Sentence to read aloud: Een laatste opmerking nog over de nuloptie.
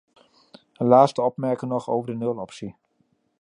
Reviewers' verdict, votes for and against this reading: accepted, 2, 0